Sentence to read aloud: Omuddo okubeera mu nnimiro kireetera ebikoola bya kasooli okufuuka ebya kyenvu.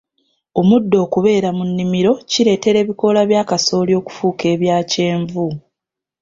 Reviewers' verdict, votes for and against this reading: accepted, 2, 0